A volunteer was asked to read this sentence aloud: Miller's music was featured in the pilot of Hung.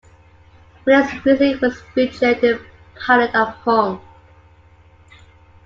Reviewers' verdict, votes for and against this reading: rejected, 2, 3